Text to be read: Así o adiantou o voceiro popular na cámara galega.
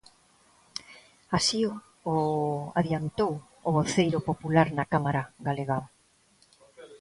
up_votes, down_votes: 1, 2